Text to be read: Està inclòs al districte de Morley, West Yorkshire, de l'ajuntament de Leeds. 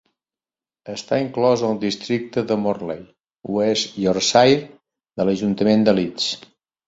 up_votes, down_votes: 2, 0